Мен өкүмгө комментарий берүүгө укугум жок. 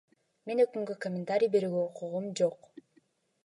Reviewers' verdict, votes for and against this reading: accepted, 2, 0